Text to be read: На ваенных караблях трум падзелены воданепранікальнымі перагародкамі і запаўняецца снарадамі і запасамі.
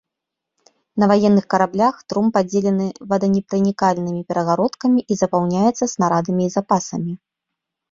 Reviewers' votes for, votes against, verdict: 2, 0, accepted